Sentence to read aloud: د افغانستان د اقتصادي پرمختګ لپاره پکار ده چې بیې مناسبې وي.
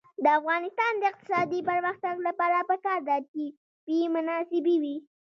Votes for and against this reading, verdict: 0, 2, rejected